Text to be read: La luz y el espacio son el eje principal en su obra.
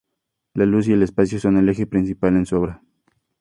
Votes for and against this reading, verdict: 2, 0, accepted